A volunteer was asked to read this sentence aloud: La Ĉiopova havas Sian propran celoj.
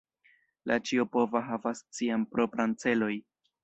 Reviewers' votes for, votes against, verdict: 2, 0, accepted